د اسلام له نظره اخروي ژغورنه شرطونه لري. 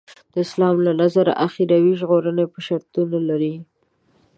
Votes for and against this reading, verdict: 1, 2, rejected